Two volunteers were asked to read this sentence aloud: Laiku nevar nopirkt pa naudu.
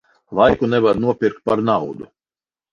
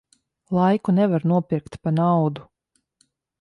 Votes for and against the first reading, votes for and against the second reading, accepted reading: 0, 4, 2, 0, second